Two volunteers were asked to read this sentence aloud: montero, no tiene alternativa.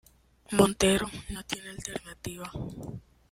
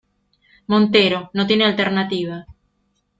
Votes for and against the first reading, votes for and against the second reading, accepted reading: 1, 2, 2, 0, second